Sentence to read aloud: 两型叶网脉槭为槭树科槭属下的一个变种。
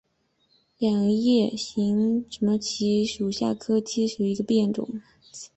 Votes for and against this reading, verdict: 1, 3, rejected